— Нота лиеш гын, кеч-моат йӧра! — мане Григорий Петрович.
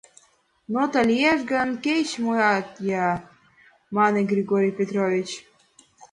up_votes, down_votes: 1, 2